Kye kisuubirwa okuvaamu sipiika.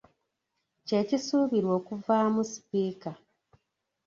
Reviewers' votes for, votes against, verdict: 2, 0, accepted